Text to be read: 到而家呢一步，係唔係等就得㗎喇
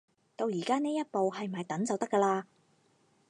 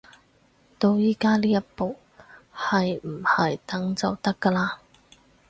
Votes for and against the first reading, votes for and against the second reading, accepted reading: 4, 0, 2, 4, first